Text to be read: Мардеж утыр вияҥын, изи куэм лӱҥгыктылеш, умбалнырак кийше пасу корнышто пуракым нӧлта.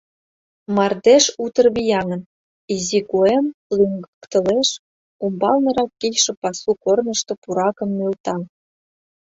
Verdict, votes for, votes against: rejected, 1, 4